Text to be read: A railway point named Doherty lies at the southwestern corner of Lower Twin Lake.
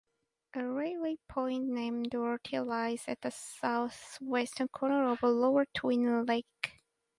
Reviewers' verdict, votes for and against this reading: rejected, 2, 2